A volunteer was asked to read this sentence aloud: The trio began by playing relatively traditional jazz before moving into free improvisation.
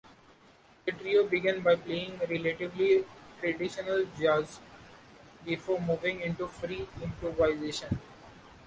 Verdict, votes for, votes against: rejected, 1, 2